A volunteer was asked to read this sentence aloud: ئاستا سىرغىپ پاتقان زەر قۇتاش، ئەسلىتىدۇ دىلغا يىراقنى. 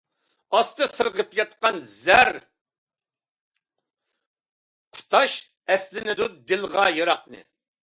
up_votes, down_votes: 0, 2